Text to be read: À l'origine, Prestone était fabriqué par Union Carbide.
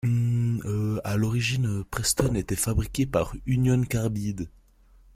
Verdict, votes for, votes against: rejected, 0, 2